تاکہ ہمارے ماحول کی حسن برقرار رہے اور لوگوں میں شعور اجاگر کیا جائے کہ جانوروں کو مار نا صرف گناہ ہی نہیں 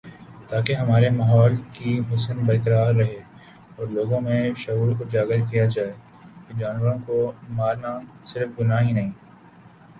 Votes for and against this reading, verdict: 2, 0, accepted